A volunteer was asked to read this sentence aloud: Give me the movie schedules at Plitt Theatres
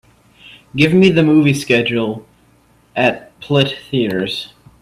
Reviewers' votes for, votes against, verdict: 0, 2, rejected